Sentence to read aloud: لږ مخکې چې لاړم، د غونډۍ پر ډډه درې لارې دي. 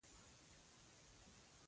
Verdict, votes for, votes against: rejected, 1, 2